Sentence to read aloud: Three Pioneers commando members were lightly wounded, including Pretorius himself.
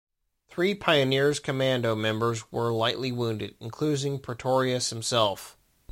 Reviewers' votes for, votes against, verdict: 0, 2, rejected